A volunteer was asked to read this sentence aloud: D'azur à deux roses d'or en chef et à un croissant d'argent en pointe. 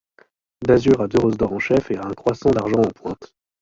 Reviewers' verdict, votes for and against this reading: rejected, 0, 2